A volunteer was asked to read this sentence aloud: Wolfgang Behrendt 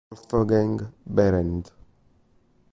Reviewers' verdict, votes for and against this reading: rejected, 0, 3